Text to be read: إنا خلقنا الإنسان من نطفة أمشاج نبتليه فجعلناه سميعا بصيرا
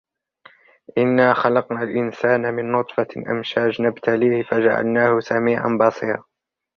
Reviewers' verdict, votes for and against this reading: rejected, 1, 2